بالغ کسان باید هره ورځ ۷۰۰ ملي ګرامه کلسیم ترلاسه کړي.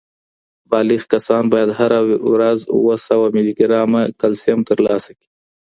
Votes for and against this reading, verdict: 0, 2, rejected